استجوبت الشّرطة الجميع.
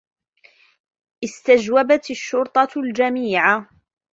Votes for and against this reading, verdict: 0, 2, rejected